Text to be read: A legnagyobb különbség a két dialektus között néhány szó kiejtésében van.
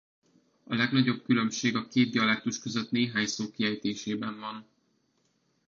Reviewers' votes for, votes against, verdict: 2, 0, accepted